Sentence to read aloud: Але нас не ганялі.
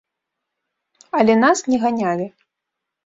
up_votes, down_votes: 2, 0